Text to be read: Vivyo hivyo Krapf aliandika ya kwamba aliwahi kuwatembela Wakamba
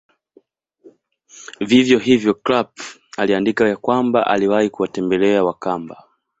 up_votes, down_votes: 2, 0